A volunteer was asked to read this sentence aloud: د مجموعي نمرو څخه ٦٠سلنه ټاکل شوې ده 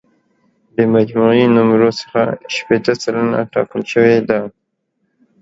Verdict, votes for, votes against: rejected, 0, 2